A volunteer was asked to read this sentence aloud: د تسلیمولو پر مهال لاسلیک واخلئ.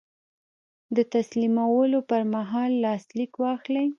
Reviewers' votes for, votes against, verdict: 1, 2, rejected